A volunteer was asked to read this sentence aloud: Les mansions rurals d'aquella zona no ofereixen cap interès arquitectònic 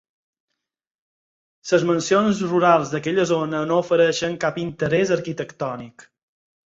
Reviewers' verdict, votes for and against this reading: accepted, 6, 0